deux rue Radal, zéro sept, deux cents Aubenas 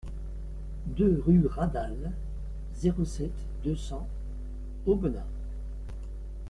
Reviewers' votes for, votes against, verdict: 2, 0, accepted